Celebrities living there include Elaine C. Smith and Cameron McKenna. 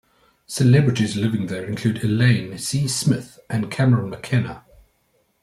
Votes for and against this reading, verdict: 2, 0, accepted